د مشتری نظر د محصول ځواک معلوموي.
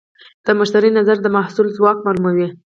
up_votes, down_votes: 4, 4